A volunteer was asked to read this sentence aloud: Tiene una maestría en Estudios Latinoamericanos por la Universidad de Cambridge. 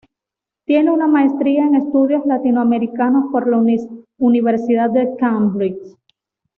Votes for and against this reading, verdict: 1, 2, rejected